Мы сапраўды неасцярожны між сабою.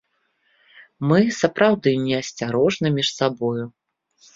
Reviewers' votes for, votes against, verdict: 2, 0, accepted